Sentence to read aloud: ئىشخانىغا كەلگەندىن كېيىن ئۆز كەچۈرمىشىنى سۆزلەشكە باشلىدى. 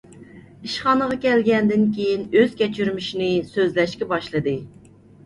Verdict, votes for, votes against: accepted, 2, 0